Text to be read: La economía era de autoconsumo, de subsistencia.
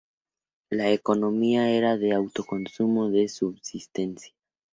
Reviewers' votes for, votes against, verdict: 2, 0, accepted